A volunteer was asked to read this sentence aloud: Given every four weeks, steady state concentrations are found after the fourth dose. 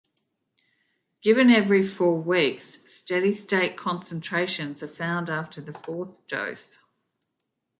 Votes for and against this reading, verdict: 2, 0, accepted